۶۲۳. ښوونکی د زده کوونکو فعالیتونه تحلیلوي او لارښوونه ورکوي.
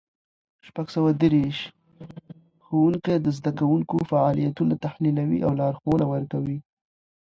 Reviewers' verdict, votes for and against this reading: rejected, 0, 2